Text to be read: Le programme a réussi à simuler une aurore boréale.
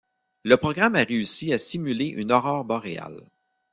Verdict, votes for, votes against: accepted, 2, 0